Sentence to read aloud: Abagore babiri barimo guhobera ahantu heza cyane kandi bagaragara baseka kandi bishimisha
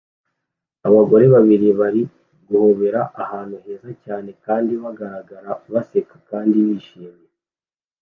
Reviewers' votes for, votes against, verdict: 2, 0, accepted